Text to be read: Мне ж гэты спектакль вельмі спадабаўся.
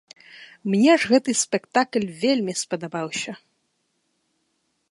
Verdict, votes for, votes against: rejected, 1, 2